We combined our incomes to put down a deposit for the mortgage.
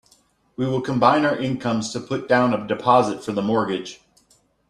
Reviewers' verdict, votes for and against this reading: rejected, 0, 2